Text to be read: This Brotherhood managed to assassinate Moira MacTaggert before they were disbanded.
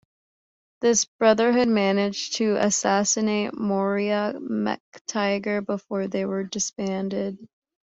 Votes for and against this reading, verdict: 1, 2, rejected